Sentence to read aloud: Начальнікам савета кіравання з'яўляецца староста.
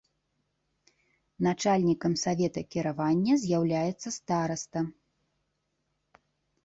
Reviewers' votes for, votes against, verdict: 1, 2, rejected